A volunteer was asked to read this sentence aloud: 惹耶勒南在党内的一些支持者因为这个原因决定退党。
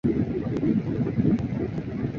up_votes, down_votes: 1, 3